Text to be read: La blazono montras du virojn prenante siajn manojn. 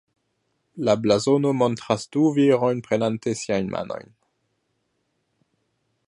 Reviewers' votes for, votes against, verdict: 2, 0, accepted